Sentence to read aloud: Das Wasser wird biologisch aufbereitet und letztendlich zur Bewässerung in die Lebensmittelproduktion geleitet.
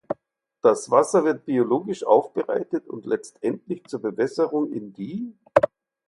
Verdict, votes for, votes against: rejected, 0, 4